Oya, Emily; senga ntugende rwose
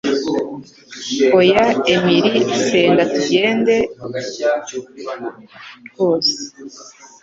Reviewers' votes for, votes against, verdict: 2, 0, accepted